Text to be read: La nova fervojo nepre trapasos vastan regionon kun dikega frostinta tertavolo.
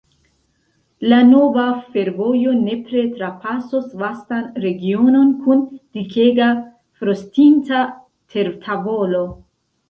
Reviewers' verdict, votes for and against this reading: rejected, 1, 2